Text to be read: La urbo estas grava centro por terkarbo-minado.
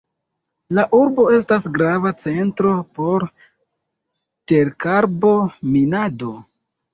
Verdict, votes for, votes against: accepted, 2, 0